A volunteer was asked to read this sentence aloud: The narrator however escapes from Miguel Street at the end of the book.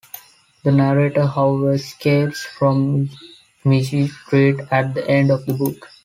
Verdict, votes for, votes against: rejected, 0, 2